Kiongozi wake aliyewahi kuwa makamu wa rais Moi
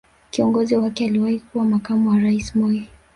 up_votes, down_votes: 3, 2